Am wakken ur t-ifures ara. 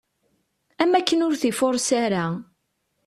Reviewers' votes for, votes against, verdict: 2, 0, accepted